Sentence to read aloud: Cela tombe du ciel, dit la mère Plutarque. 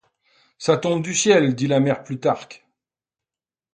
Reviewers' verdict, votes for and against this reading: rejected, 0, 2